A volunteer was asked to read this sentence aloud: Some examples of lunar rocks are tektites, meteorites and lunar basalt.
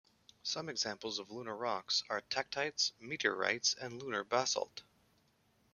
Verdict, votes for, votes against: accepted, 2, 0